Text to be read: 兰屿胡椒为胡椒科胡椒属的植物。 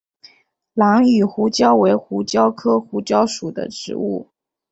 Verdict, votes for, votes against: accepted, 2, 0